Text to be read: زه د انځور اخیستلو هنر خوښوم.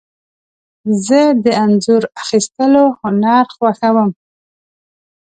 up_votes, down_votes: 2, 0